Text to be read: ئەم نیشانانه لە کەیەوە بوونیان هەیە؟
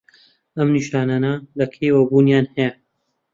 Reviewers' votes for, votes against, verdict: 2, 0, accepted